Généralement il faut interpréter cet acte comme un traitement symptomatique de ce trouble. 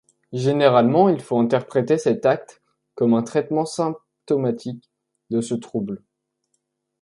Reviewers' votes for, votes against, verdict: 1, 2, rejected